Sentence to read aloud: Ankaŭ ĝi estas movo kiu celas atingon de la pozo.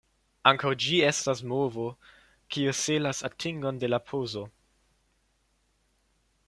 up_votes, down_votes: 1, 2